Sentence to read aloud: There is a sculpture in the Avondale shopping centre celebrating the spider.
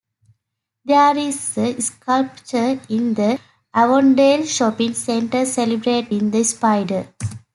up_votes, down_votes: 2, 0